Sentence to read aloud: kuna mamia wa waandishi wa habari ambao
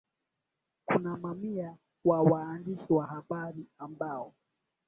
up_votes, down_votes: 1, 2